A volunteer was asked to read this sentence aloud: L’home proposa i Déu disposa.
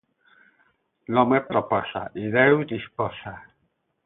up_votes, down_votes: 8, 0